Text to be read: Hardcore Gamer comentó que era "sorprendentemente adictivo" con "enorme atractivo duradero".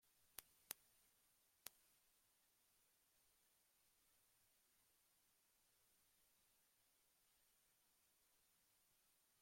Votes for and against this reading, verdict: 0, 2, rejected